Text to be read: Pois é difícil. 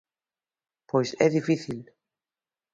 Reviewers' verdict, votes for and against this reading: accepted, 2, 0